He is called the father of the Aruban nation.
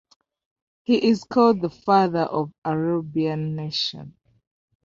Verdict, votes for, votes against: accepted, 2, 0